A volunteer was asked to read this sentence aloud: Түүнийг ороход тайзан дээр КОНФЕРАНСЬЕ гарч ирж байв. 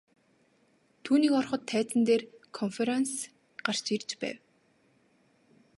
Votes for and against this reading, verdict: 2, 0, accepted